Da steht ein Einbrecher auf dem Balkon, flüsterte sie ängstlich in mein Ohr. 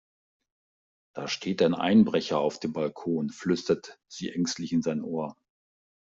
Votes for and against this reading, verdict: 0, 2, rejected